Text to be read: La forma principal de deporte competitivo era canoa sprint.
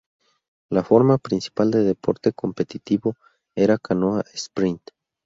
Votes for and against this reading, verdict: 4, 0, accepted